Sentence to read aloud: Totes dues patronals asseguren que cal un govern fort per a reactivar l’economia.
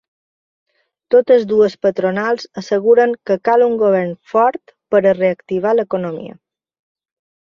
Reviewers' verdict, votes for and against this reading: accepted, 3, 0